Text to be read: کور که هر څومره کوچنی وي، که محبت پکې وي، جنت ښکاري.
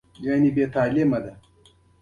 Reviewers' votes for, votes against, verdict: 2, 1, accepted